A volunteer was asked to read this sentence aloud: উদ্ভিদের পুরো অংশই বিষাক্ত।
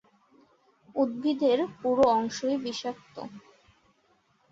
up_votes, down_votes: 20, 1